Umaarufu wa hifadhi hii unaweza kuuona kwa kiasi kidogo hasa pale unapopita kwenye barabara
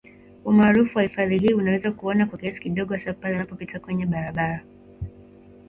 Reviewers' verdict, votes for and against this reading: rejected, 0, 2